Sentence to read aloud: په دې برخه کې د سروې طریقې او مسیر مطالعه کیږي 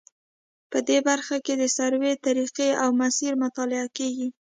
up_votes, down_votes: 2, 0